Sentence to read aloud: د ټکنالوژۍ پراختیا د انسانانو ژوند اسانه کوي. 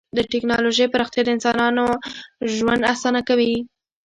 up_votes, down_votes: 2, 0